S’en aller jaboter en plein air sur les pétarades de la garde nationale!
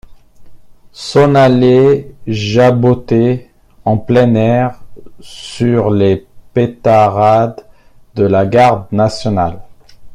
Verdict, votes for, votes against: rejected, 0, 2